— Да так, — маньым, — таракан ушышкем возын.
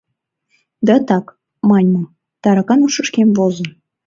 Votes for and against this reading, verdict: 2, 0, accepted